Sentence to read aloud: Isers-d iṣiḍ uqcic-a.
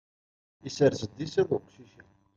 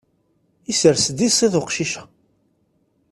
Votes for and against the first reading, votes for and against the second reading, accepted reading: 1, 2, 2, 0, second